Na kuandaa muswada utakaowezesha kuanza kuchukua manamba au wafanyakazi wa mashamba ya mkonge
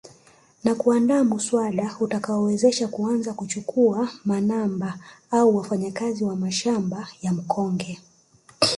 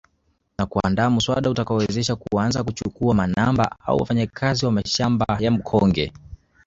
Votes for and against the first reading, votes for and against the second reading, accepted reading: 1, 2, 2, 1, second